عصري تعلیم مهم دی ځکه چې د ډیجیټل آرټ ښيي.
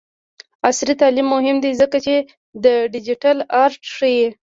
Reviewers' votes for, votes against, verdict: 1, 2, rejected